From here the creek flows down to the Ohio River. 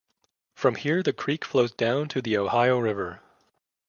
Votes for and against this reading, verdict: 2, 0, accepted